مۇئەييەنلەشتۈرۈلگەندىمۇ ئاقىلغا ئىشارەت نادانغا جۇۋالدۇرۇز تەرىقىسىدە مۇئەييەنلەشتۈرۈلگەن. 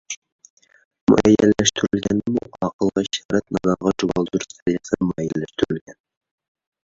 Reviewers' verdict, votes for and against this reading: rejected, 0, 3